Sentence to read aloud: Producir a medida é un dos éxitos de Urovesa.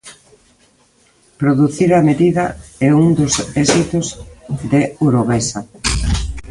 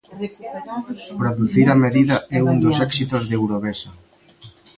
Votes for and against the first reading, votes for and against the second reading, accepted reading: 2, 0, 0, 2, first